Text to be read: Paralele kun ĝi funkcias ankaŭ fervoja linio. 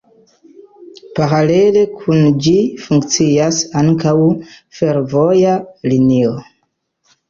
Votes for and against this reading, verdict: 0, 2, rejected